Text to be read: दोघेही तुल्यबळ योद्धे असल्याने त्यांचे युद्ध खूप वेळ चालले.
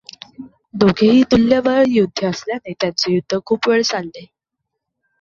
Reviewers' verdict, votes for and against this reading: accepted, 2, 0